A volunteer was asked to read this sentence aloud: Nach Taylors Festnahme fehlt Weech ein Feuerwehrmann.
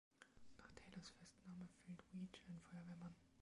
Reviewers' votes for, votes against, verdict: 0, 2, rejected